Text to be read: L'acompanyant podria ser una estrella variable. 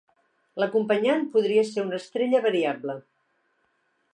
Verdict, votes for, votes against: accepted, 2, 0